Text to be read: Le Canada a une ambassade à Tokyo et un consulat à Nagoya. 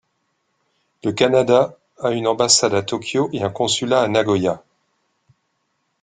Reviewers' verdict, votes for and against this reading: accepted, 2, 0